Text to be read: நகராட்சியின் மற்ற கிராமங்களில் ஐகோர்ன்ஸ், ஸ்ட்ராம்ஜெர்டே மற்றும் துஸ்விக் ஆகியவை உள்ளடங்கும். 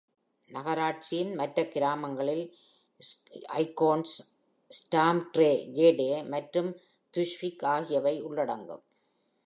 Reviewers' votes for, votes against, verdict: 1, 2, rejected